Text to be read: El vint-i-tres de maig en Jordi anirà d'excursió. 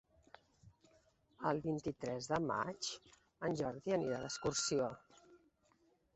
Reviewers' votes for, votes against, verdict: 2, 0, accepted